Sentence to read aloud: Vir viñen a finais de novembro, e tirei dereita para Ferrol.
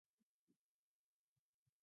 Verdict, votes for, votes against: rejected, 0, 2